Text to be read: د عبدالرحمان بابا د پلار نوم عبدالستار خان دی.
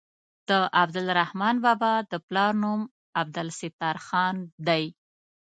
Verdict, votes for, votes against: accepted, 2, 0